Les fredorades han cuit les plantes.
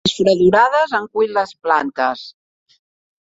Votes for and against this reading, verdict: 1, 2, rejected